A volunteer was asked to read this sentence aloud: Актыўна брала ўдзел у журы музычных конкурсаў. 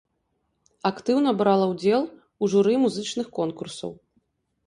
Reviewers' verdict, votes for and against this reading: accepted, 2, 0